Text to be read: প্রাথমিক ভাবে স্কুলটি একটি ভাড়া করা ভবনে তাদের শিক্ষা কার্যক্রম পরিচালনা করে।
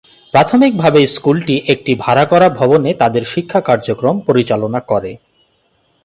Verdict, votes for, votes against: accepted, 4, 0